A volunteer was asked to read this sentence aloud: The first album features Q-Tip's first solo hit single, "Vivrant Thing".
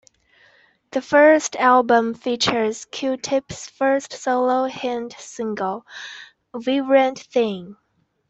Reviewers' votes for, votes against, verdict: 1, 2, rejected